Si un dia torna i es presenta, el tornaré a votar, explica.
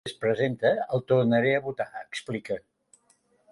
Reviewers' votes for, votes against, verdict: 0, 2, rejected